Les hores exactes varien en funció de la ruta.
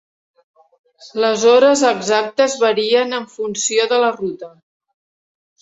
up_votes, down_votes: 4, 0